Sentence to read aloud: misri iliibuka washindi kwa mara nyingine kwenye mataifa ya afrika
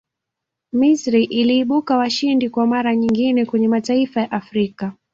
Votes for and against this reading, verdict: 2, 0, accepted